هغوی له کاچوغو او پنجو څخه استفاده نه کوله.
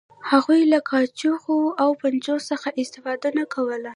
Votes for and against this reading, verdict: 1, 2, rejected